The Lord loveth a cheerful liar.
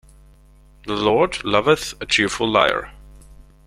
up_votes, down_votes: 2, 0